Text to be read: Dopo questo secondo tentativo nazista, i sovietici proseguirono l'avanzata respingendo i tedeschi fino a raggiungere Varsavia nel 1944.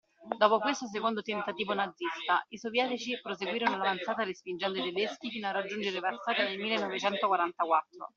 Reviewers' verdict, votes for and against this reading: rejected, 0, 2